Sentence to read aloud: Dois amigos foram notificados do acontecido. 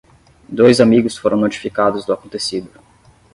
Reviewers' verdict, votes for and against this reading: accepted, 10, 0